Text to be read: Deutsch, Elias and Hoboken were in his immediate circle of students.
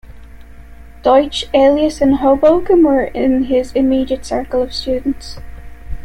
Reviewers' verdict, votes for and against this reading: rejected, 1, 2